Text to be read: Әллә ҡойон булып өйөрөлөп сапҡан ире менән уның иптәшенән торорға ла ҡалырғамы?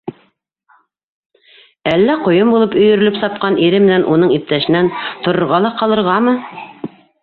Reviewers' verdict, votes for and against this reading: rejected, 0, 2